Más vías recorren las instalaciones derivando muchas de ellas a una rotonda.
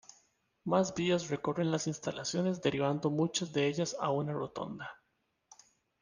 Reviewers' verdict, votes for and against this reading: accepted, 2, 1